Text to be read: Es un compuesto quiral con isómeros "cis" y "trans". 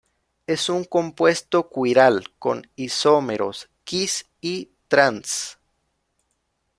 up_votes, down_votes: 0, 2